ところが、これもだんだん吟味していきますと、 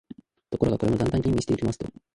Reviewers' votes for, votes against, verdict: 6, 7, rejected